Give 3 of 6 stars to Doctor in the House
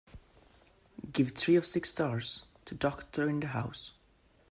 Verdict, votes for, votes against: rejected, 0, 2